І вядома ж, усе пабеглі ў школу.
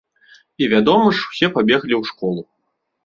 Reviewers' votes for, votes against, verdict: 2, 1, accepted